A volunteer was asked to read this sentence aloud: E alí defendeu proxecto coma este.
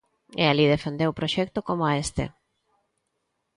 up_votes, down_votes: 2, 0